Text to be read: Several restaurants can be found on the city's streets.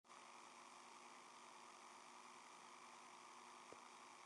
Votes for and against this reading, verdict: 0, 2, rejected